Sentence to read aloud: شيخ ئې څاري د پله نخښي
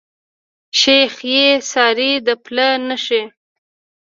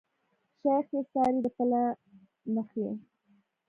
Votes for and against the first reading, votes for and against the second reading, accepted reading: 2, 0, 1, 2, first